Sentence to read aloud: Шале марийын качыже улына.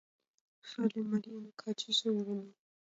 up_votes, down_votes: 1, 2